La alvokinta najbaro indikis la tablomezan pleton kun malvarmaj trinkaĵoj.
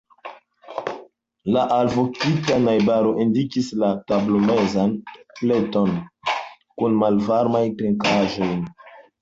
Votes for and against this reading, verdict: 0, 2, rejected